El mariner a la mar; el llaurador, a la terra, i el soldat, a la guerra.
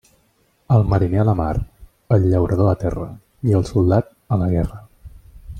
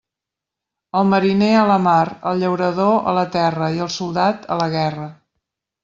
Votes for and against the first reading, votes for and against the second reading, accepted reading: 1, 2, 3, 0, second